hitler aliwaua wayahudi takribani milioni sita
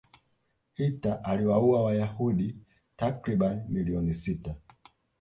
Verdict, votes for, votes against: rejected, 0, 2